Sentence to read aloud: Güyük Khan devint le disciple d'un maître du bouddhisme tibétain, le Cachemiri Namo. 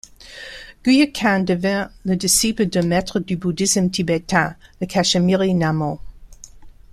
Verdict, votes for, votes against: rejected, 0, 2